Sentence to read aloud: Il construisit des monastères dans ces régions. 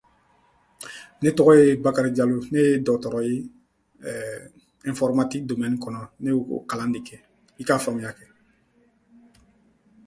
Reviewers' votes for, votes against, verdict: 1, 2, rejected